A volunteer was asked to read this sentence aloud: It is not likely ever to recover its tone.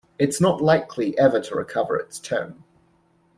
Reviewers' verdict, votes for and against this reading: rejected, 0, 2